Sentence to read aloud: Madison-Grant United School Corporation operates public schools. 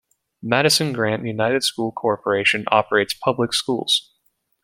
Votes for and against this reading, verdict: 2, 0, accepted